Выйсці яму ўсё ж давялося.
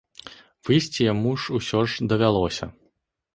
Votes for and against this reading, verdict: 0, 2, rejected